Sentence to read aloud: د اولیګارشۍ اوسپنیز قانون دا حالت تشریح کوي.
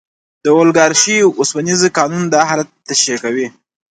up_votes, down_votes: 2, 0